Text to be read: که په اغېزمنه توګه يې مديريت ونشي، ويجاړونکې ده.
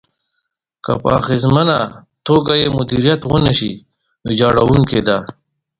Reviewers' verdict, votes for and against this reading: accepted, 2, 0